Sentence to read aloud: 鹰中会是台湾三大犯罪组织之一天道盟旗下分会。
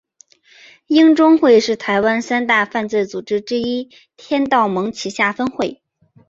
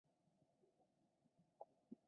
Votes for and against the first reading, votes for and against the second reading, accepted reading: 2, 0, 0, 2, first